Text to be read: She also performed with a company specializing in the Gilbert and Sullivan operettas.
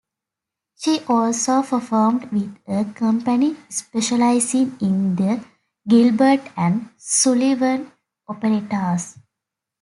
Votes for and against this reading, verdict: 2, 0, accepted